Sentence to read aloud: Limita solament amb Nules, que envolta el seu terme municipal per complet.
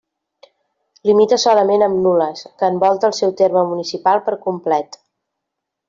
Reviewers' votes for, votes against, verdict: 2, 0, accepted